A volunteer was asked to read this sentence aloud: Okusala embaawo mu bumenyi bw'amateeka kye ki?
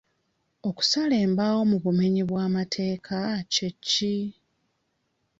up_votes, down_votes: 2, 0